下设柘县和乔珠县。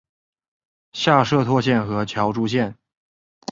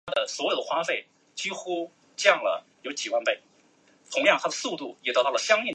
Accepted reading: first